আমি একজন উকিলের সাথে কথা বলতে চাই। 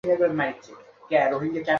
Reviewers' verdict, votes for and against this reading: rejected, 0, 2